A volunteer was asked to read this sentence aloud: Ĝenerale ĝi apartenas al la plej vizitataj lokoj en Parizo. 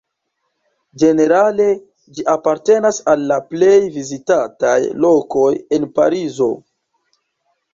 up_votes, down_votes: 2, 0